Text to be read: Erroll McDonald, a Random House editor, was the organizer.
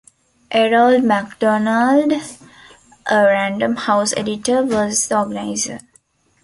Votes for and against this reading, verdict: 2, 0, accepted